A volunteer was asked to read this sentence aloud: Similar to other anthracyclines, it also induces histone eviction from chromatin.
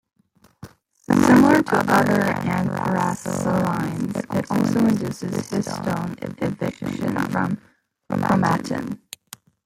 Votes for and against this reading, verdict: 0, 2, rejected